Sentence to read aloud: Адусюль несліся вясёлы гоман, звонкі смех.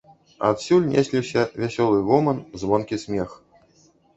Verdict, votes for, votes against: rejected, 0, 2